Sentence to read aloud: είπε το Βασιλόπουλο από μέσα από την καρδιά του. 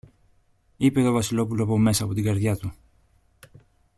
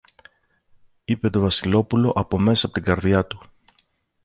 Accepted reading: first